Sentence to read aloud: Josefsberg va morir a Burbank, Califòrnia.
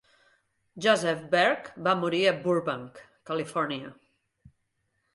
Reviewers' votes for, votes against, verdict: 1, 2, rejected